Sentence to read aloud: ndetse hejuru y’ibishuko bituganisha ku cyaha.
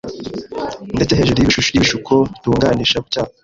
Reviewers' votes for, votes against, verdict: 0, 2, rejected